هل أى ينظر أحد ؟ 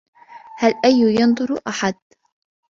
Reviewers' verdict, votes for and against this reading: accepted, 2, 0